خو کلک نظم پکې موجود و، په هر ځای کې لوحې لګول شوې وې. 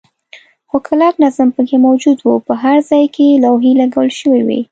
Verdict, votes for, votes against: accepted, 2, 0